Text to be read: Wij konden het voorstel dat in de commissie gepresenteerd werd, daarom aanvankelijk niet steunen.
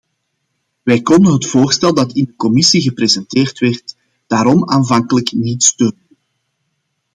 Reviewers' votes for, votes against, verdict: 0, 2, rejected